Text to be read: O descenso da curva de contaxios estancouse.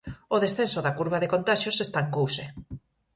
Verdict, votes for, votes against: accepted, 4, 0